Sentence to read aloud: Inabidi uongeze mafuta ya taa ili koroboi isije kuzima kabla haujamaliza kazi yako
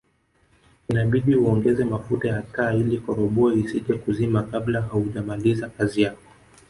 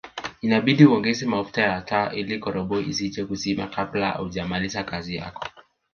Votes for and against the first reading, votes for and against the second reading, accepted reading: 1, 2, 3, 1, second